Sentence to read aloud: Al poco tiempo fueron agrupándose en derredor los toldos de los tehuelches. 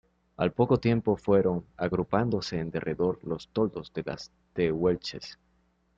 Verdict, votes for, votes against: rejected, 0, 2